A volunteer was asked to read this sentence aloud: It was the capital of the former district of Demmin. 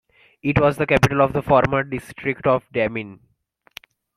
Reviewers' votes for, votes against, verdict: 2, 0, accepted